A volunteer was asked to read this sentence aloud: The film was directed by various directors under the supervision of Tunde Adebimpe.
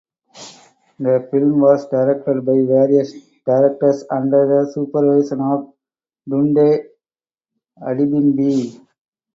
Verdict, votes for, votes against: rejected, 2, 2